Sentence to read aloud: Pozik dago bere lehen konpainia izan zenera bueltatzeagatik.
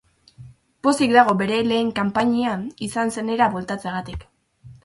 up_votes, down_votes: 0, 2